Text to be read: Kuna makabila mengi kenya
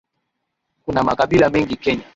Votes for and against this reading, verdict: 2, 1, accepted